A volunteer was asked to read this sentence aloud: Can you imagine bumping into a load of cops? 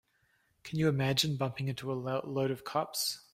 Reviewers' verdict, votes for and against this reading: rejected, 0, 3